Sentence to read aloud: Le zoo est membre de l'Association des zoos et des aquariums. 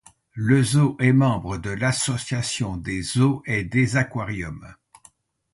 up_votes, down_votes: 0, 2